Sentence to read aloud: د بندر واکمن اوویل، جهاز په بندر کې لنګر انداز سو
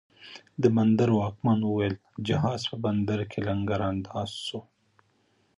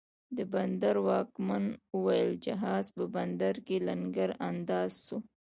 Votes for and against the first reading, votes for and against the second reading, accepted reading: 3, 0, 1, 2, first